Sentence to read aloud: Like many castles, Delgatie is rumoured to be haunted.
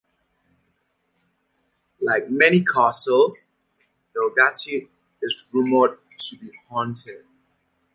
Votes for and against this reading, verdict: 2, 0, accepted